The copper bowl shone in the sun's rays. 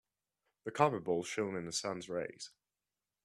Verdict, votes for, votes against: accepted, 2, 0